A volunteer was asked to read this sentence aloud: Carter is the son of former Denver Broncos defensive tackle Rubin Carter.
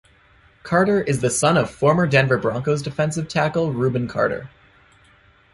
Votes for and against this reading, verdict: 2, 0, accepted